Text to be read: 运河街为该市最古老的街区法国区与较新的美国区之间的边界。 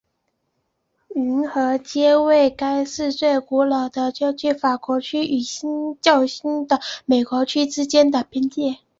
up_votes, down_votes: 0, 2